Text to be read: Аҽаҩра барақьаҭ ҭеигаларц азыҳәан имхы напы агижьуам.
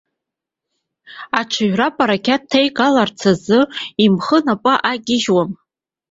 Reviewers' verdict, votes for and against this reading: rejected, 1, 2